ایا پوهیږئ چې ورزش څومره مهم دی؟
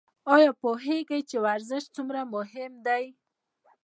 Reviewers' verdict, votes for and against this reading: accepted, 2, 0